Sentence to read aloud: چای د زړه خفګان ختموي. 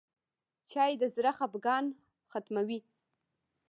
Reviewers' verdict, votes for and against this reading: rejected, 0, 2